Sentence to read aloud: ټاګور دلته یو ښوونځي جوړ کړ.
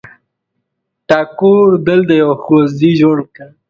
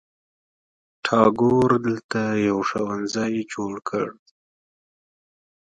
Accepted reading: second